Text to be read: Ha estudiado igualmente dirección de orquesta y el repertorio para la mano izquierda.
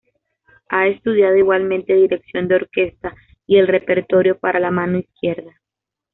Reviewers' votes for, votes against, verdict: 2, 0, accepted